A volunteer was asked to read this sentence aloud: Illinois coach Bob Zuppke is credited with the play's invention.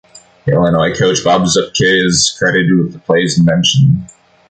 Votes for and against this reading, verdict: 1, 2, rejected